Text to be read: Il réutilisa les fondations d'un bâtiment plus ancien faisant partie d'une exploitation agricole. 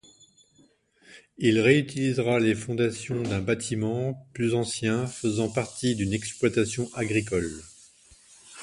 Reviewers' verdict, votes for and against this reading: rejected, 1, 2